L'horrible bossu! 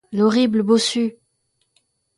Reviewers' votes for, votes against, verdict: 2, 0, accepted